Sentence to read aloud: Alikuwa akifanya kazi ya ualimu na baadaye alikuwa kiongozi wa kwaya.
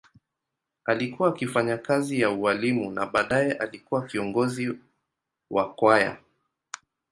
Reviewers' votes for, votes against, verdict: 2, 0, accepted